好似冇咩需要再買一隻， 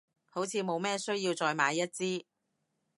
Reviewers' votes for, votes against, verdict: 0, 2, rejected